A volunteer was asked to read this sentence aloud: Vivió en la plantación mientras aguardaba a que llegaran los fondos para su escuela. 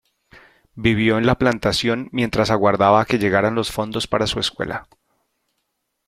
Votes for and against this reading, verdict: 2, 0, accepted